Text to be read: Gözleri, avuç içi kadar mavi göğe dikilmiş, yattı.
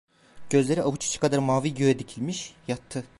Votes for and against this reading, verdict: 0, 2, rejected